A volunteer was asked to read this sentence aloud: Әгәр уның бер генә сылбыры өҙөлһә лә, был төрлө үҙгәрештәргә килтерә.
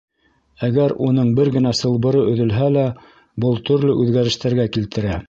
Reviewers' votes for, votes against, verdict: 2, 0, accepted